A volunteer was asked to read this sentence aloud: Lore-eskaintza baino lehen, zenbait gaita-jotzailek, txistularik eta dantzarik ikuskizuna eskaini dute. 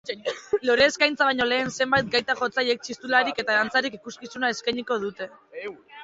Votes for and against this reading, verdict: 0, 2, rejected